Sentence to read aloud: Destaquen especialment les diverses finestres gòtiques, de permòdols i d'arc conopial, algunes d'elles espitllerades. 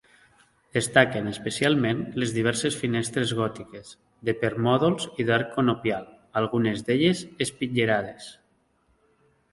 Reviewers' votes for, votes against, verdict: 2, 0, accepted